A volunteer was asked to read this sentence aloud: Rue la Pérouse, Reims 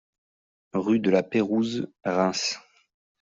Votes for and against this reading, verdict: 0, 2, rejected